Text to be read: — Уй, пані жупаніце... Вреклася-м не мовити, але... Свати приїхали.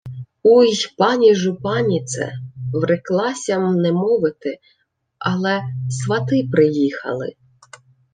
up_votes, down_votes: 1, 2